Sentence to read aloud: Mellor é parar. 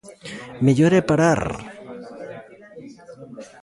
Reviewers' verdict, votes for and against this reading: accepted, 2, 0